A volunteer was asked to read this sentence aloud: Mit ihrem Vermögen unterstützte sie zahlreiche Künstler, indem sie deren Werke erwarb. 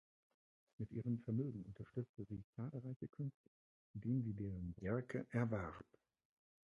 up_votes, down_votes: 0, 2